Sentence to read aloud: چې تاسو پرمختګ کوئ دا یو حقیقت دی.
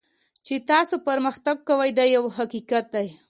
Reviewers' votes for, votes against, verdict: 2, 0, accepted